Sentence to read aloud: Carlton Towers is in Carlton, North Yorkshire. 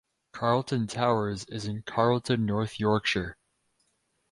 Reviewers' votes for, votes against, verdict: 4, 0, accepted